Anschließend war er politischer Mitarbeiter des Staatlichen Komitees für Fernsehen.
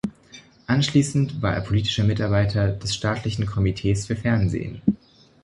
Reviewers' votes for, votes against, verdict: 2, 0, accepted